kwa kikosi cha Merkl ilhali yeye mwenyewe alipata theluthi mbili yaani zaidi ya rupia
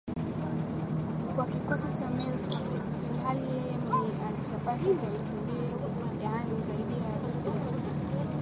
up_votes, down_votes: 0, 2